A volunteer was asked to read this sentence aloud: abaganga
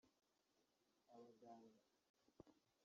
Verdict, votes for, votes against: rejected, 0, 2